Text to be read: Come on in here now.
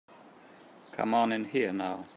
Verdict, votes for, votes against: accepted, 2, 0